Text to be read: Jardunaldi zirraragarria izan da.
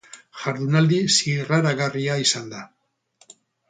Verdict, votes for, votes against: accepted, 2, 0